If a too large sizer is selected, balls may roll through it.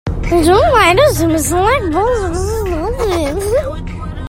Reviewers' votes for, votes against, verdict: 0, 2, rejected